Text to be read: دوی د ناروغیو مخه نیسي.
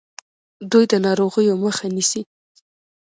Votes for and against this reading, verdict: 2, 0, accepted